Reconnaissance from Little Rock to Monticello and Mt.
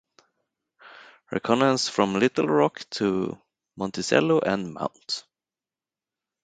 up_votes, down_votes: 2, 2